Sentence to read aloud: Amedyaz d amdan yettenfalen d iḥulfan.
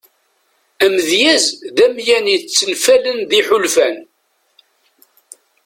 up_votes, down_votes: 0, 2